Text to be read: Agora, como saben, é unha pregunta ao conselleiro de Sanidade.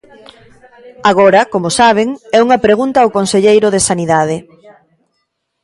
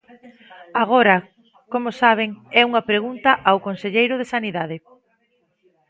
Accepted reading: second